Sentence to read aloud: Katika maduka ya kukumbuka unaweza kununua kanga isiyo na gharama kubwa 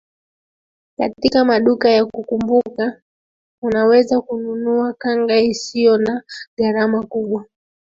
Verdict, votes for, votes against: accepted, 2, 1